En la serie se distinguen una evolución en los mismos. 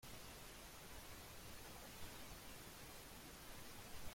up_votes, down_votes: 0, 2